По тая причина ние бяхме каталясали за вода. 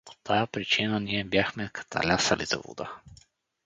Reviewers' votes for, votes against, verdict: 4, 0, accepted